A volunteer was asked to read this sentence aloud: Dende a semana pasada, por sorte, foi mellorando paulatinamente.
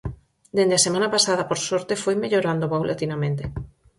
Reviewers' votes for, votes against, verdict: 4, 0, accepted